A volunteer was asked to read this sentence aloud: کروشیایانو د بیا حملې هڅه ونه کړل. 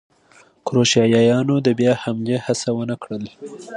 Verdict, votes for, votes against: accepted, 2, 0